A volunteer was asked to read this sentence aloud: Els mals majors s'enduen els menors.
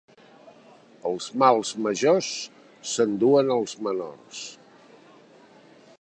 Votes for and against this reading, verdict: 2, 0, accepted